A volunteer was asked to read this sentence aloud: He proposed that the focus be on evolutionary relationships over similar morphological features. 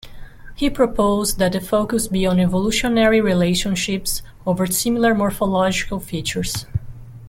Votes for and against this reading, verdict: 2, 0, accepted